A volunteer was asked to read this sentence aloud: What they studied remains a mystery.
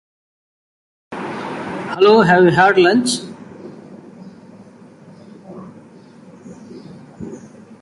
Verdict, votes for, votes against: rejected, 0, 2